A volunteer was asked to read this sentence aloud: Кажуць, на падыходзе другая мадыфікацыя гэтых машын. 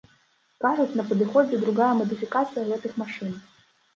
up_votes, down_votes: 0, 2